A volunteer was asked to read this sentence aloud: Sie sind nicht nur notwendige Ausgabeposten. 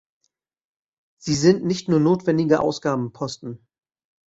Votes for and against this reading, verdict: 0, 2, rejected